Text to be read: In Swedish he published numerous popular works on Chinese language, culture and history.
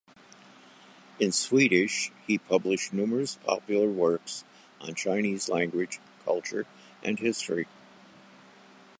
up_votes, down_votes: 2, 0